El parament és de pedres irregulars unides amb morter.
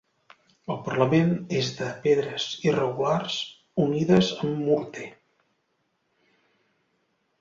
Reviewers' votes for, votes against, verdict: 1, 2, rejected